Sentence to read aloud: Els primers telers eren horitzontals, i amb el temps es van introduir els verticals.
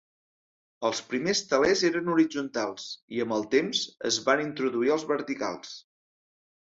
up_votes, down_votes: 2, 0